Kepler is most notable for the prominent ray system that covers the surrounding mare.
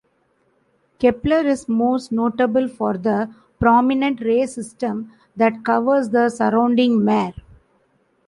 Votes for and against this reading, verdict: 2, 0, accepted